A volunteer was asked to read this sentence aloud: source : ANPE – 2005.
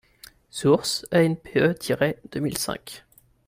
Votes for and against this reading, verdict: 0, 2, rejected